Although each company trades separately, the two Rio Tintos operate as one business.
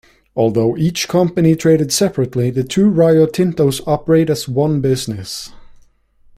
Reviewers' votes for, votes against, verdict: 0, 3, rejected